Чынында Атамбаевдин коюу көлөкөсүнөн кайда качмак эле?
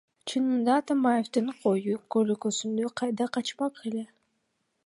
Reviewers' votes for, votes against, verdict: 1, 2, rejected